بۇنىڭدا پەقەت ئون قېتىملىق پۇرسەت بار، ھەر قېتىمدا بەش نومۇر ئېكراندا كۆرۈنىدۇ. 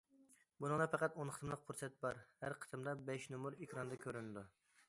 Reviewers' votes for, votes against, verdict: 2, 0, accepted